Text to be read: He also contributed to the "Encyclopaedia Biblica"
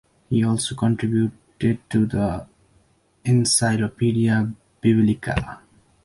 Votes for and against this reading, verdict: 0, 2, rejected